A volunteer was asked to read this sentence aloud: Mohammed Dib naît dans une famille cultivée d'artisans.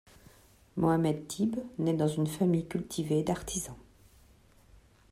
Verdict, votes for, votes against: accepted, 2, 0